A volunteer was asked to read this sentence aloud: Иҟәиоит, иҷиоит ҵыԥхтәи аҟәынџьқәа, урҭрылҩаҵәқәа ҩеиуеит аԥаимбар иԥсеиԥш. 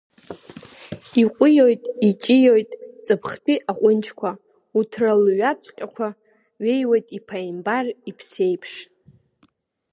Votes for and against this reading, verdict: 0, 2, rejected